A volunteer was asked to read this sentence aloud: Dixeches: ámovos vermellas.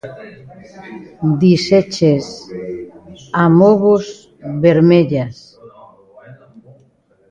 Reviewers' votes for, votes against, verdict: 0, 2, rejected